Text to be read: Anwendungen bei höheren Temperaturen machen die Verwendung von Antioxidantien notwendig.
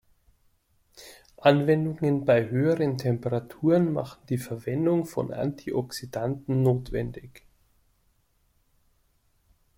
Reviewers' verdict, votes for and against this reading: rejected, 1, 2